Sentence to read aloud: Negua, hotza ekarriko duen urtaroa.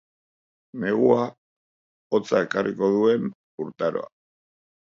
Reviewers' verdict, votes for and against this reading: accepted, 2, 0